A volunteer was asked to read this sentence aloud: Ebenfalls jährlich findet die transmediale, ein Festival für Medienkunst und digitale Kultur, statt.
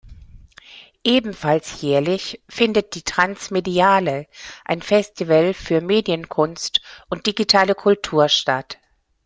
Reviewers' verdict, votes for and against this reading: accepted, 2, 0